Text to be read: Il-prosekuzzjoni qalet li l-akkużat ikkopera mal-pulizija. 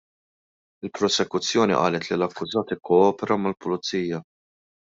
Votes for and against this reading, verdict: 1, 2, rejected